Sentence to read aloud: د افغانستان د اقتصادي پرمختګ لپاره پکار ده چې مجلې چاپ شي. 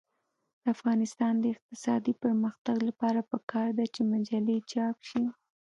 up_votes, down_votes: 2, 0